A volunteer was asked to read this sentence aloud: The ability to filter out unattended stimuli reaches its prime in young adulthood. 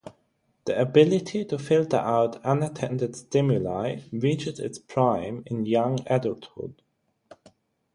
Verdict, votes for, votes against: accepted, 6, 0